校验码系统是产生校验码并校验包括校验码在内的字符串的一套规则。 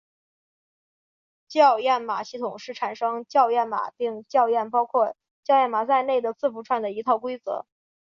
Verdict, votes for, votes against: accepted, 4, 1